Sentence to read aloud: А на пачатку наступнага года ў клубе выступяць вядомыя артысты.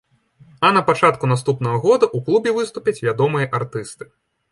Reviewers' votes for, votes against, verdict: 2, 1, accepted